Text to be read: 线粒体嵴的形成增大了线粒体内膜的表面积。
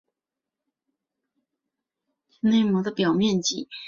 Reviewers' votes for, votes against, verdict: 2, 1, accepted